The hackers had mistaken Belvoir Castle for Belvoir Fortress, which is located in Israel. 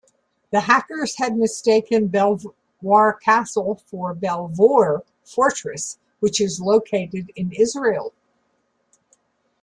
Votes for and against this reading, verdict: 1, 2, rejected